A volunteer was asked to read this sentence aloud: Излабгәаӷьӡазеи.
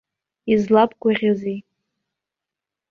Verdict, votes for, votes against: rejected, 0, 2